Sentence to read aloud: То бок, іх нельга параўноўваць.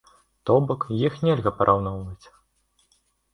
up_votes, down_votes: 2, 0